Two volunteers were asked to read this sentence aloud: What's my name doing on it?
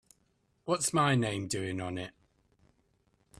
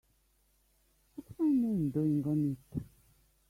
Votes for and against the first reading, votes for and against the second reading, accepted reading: 4, 0, 1, 2, first